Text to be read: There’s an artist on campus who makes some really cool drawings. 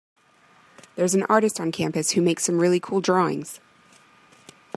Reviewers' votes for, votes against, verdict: 3, 0, accepted